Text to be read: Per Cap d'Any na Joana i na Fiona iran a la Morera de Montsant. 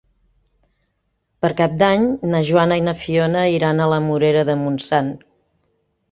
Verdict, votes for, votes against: accepted, 3, 0